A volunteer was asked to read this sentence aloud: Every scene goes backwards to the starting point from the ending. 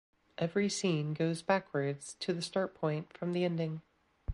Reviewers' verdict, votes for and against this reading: rejected, 1, 2